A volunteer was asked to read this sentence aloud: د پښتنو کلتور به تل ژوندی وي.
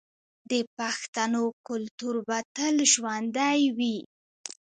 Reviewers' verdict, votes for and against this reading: accepted, 2, 1